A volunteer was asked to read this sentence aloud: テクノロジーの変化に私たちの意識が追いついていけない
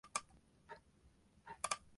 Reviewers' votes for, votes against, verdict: 0, 2, rejected